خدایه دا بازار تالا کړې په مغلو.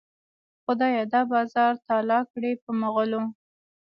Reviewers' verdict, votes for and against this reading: accepted, 2, 0